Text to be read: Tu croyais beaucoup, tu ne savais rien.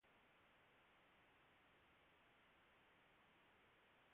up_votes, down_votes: 0, 2